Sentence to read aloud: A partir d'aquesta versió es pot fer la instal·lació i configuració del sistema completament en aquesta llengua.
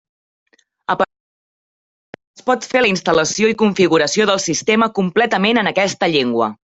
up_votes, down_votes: 1, 2